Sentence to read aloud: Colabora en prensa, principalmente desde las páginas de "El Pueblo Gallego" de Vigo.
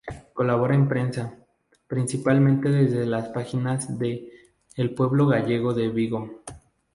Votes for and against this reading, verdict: 2, 0, accepted